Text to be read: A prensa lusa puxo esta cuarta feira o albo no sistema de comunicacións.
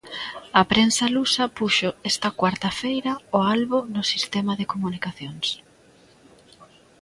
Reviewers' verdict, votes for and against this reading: accepted, 2, 0